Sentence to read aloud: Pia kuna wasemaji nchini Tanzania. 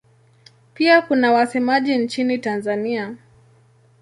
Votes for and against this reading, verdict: 2, 0, accepted